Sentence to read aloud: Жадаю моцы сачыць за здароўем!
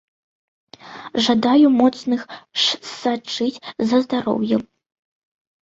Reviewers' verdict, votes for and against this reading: rejected, 0, 2